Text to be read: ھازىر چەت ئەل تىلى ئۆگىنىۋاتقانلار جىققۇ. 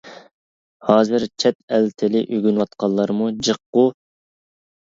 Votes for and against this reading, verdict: 1, 2, rejected